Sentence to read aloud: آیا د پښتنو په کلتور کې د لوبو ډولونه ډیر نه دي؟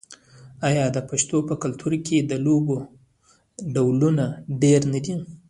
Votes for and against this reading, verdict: 1, 2, rejected